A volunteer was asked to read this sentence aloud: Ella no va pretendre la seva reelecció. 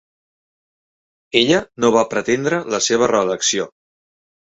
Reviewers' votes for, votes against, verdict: 4, 0, accepted